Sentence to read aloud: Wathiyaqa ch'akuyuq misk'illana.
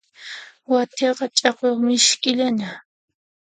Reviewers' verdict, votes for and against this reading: accepted, 2, 0